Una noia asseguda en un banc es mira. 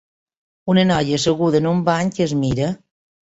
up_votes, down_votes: 1, 2